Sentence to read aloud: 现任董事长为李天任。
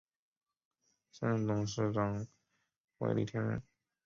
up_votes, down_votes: 2, 3